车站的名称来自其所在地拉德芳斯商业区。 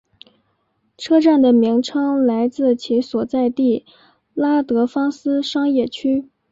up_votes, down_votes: 2, 0